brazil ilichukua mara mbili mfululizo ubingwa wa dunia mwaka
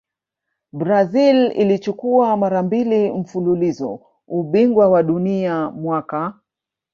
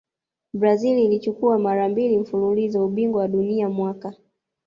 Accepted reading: second